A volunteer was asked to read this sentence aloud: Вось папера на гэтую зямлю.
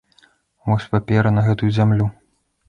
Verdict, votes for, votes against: accepted, 2, 0